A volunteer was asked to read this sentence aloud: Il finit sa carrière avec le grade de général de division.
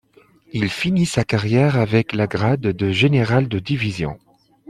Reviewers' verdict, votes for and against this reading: rejected, 1, 2